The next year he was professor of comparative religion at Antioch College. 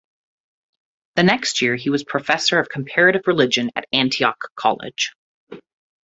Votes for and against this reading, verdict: 2, 0, accepted